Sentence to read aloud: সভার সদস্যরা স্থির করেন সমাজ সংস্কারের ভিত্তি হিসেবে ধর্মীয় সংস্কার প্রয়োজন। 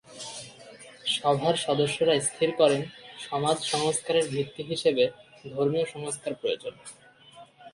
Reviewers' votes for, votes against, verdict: 3, 0, accepted